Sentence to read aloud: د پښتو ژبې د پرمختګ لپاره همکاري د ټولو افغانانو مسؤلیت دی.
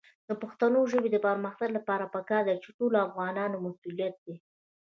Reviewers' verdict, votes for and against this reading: rejected, 0, 2